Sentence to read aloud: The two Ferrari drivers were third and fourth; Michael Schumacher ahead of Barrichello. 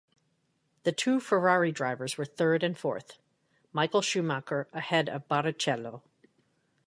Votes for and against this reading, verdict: 2, 0, accepted